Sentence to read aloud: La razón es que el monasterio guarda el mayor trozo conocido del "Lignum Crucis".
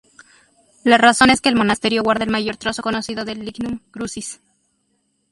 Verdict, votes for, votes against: rejected, 0, 2